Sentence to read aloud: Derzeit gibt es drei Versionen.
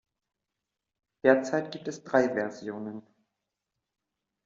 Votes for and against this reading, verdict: 2, 0, accepted